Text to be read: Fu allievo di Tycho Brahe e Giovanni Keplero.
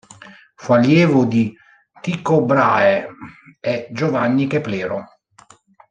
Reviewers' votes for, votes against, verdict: 2, 0, accepted